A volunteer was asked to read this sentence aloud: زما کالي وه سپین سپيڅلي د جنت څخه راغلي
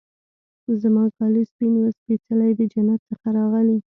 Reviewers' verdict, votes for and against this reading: accepted, 2, 0